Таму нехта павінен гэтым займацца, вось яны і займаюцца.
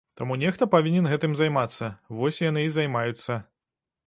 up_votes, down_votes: 2, 0